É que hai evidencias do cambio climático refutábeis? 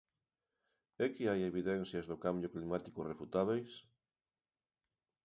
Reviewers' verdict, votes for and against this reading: accepted, 2, 0